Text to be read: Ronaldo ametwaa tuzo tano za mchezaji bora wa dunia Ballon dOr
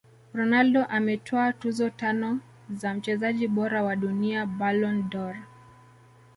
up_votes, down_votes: 2, 0